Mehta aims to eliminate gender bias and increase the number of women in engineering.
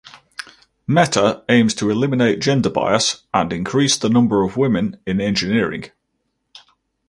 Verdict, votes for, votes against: accepted, 4, 0